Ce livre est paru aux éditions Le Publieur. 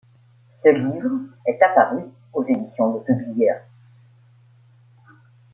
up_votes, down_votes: 0, 2